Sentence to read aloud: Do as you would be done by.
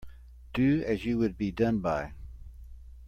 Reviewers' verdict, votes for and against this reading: accepted, 2, 0